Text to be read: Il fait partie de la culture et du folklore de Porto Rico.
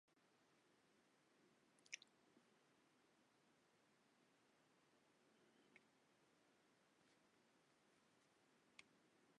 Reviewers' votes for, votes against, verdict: 0, 2, rejected